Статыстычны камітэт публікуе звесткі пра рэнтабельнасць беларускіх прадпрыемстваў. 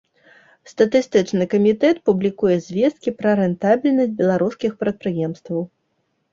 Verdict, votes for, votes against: accepted, 3, 0